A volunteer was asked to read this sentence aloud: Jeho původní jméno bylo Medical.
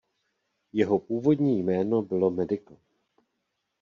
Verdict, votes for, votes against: accepted, 2, 0